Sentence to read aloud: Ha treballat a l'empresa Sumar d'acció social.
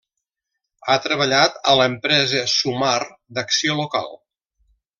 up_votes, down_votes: 0, 2